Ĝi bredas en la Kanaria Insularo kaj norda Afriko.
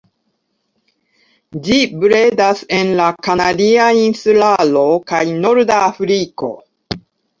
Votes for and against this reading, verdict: 2, 0, accepted